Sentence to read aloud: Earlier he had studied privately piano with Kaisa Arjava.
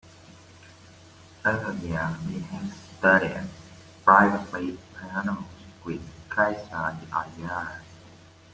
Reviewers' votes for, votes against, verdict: 2, 0, accepted